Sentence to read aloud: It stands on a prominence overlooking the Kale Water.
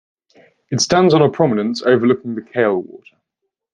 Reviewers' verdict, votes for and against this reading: accepted, 2, 0